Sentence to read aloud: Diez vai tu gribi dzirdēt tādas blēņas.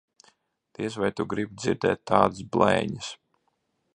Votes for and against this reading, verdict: 2, 0, accepted